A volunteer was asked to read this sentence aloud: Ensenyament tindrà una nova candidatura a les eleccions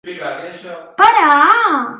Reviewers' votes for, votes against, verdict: 1, 2, rejected